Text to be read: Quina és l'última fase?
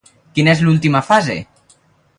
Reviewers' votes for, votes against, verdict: 2, 2, rejected